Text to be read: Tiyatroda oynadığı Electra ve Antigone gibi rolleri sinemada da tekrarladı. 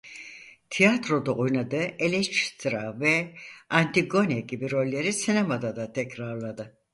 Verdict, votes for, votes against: rejected, 2, 4